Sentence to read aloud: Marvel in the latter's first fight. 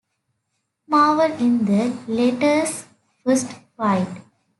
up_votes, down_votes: 2, 0